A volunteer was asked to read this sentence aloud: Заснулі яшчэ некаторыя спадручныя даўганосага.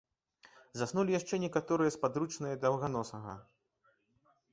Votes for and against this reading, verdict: 2, 0, accepted